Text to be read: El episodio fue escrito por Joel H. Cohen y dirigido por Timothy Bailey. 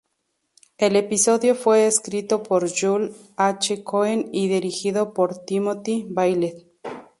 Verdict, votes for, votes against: accepted, 2, 0